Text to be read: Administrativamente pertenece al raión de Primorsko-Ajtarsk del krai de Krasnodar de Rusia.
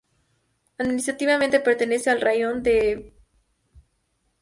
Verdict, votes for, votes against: rejected, 0, 2